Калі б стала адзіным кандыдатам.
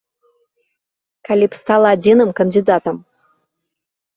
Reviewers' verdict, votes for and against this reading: rejected, 1, 2